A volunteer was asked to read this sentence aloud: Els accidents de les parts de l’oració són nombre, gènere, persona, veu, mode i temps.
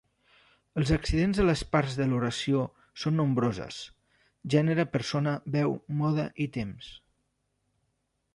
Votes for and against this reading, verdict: 1, 2, rejected